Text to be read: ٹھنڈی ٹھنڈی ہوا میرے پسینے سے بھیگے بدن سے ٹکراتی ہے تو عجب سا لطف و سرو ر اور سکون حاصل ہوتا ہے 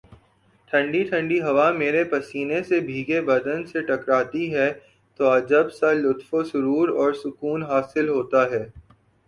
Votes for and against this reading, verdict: 2, 0, accepted